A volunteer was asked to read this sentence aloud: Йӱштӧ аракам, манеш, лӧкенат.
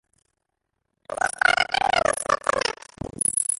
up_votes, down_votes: 0, 2